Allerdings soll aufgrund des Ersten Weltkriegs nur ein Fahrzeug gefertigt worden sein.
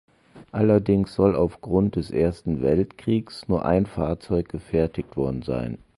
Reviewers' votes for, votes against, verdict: 2, 0, accepted